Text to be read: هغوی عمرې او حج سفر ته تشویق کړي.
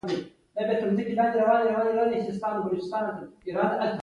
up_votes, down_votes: 2, 0